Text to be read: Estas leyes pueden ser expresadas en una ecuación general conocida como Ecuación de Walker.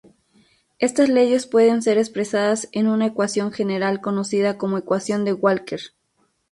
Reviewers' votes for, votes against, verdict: 2, 2, rejected